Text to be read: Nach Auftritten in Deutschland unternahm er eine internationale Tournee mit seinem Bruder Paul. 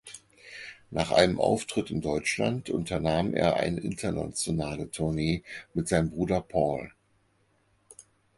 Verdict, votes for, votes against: rejected, 0, 4